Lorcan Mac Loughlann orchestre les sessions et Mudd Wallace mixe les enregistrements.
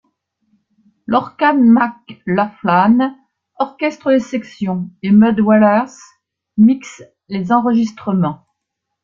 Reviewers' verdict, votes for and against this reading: rejected, 0, 2